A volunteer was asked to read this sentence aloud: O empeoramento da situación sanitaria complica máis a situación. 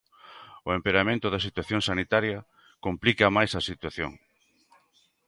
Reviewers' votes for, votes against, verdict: 3, 0, accepted